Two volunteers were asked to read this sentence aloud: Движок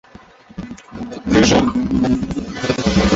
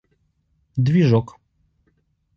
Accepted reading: second